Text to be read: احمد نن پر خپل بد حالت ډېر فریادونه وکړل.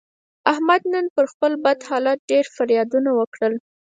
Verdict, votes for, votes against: accepted, 4, 0